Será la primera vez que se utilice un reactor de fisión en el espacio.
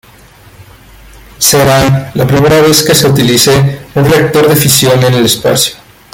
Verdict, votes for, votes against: accepted, 2, 0